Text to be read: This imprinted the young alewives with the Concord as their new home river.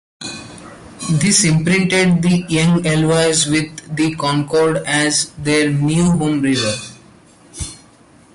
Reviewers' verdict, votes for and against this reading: accepted, 2, 0